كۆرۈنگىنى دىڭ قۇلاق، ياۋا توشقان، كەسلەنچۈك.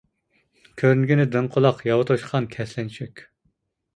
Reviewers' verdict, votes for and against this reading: accepted, 2, 0